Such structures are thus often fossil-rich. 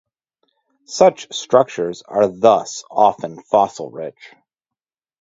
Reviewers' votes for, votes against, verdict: 2, 2, rejected